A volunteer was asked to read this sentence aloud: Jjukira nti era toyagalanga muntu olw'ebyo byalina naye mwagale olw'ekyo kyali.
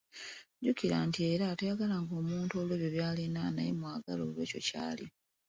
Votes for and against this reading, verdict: 2, 0, accepted